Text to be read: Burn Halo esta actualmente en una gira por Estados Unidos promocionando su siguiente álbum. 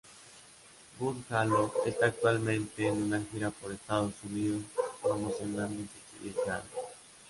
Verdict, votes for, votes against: accepted, 2, 0